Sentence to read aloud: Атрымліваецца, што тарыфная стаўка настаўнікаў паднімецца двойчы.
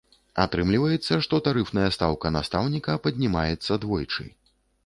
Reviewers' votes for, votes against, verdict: 1, 2, rejected